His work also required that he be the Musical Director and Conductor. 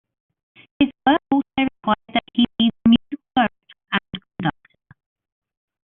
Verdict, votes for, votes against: rejected, 0, 2